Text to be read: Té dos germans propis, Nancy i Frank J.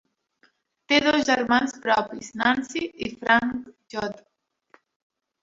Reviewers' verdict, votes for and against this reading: rejected, 1, 2